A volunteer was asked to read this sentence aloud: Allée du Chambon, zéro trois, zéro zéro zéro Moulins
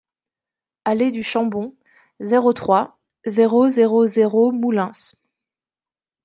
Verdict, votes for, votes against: rejected, 1, 2